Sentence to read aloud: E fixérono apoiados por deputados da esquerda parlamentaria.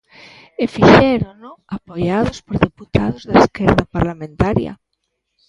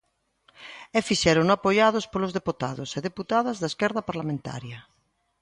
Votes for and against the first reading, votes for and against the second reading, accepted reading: 2, 1, 0, 2, first